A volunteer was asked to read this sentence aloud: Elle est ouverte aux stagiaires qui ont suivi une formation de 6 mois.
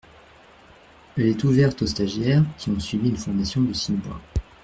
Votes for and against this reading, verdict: 0, 2, rejected